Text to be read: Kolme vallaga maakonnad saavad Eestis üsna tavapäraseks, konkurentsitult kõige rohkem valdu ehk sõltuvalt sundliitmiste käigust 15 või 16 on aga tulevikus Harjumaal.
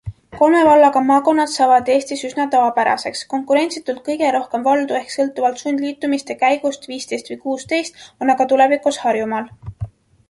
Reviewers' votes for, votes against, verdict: 0, 2, rejected